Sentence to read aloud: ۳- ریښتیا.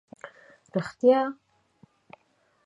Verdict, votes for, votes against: rejected, 0, 2